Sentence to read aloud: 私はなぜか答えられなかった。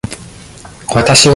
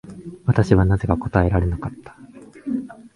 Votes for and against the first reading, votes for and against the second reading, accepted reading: 0, 2, 3, 0, second